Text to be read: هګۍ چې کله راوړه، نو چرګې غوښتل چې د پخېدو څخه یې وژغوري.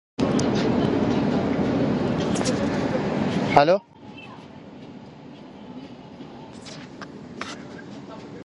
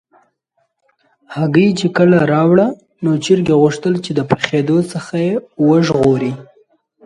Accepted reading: second